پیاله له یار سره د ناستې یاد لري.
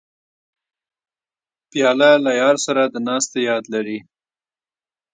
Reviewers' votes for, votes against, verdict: 1, 2, rejected